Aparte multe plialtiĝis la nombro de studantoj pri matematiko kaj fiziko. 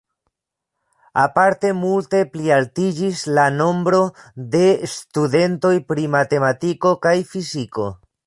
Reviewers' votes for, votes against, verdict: 0, 3, rejected